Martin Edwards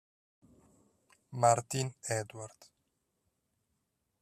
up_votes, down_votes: 4, 2